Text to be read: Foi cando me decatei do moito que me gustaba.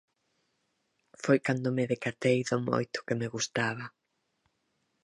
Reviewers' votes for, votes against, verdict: 4, 0, accepted